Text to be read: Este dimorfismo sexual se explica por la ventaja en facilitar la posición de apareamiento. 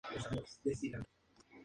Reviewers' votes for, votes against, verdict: 0, 2, rejected